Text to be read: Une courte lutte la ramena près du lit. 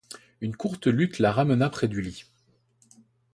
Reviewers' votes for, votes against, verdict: 2, 1, accepted